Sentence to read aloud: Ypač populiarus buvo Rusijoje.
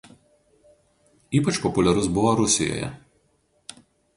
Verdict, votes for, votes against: rejected, 0, 2